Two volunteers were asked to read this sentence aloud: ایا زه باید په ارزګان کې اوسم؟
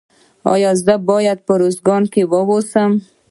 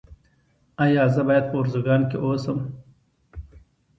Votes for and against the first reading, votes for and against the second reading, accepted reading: 0, 2, 2, 0, second